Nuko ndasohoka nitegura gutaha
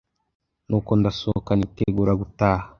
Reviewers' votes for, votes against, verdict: 2, 0, accepted